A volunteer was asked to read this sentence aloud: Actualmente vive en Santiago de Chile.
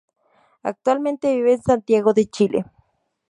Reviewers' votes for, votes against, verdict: 2, 0, accepted